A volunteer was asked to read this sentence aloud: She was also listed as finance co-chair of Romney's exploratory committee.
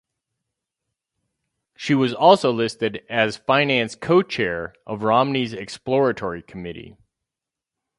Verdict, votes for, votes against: accepted, 4, 0